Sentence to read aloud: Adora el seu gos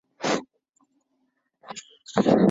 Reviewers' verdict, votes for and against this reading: rejected, 0, 2